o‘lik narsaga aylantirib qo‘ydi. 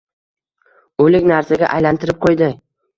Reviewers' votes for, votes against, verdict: 2, 1, accepted